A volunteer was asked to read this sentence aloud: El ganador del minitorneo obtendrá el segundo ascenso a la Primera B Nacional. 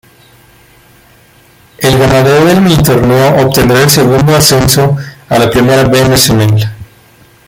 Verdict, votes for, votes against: rejected, 0, 2